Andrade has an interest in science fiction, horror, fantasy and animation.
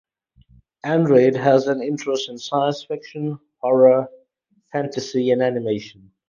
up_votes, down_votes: 2, 0